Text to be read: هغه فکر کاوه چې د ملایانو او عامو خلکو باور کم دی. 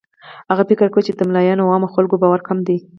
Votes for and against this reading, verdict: 4, 0, accepted